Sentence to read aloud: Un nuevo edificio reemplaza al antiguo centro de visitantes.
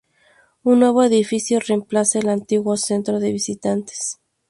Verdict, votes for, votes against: rejected, 0, 2